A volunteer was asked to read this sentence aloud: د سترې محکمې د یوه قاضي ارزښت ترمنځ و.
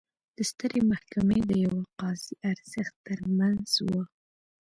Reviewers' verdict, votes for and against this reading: rejected, 1, 2